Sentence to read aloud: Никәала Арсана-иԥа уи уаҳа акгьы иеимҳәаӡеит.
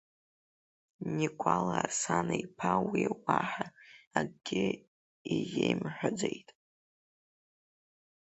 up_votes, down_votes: 1, 4